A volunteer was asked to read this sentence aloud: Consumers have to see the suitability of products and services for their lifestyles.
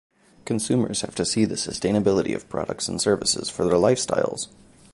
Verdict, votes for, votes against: accepted, 2, 1